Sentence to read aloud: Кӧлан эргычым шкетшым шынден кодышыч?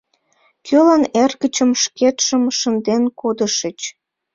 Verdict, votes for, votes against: accepted, 2, 0